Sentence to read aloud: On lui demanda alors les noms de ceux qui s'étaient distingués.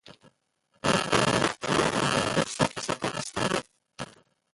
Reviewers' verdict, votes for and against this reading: rejected, 0, 2